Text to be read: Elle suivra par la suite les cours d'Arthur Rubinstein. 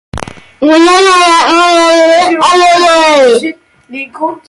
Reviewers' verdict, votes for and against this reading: rejected, 0, 2